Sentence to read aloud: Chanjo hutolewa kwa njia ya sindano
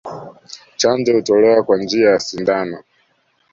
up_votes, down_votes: 2, 0